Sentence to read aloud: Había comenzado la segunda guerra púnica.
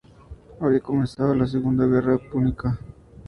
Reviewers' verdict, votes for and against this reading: rejected, 2, 2